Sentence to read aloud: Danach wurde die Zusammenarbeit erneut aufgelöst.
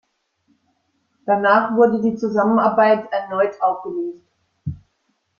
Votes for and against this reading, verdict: 1, 2, rejected